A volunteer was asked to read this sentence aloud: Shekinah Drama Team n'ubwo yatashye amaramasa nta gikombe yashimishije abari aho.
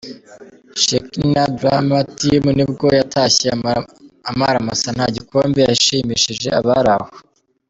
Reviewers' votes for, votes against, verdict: 1, 3, rejected